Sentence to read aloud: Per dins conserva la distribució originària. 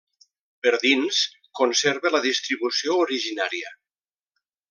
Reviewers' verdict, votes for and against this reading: accepted, 2, 0